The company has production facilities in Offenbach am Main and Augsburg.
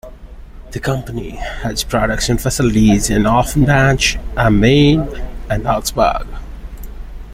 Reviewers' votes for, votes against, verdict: 2, 1, accepted